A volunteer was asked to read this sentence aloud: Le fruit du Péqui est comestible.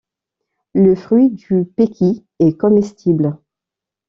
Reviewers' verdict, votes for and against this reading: accepted, 3, 1